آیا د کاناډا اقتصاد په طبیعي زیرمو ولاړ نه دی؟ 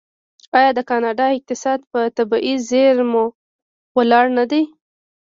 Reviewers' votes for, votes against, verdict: 0, 2, rejected